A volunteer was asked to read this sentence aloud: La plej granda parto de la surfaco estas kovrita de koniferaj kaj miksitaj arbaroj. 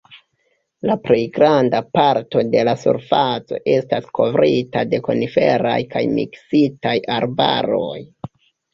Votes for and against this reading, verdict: 2, 0, accepted